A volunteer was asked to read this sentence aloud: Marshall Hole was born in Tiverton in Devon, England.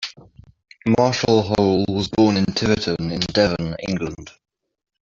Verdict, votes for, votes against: accepted, 2, 1